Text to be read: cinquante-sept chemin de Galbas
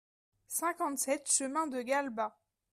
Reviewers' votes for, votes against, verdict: 2, 0, accepted